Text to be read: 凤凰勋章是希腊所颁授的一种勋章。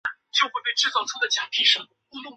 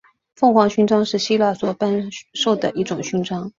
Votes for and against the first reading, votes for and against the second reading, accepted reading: 2, 4, 8, 0, second